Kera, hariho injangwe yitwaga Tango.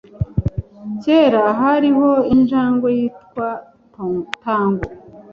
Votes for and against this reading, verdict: 2, 1, accepted